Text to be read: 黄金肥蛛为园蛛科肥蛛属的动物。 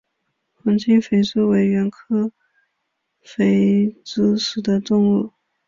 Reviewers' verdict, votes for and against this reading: accepted, 6, 5